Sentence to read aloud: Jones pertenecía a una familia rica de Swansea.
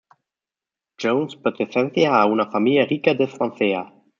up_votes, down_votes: 0, 2